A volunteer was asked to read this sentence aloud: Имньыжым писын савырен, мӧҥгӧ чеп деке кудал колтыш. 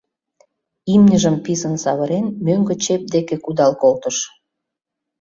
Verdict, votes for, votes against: accepted, 3, 0